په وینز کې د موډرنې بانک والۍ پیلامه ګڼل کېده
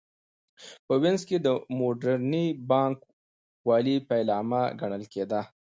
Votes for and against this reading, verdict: 2, 0, accepted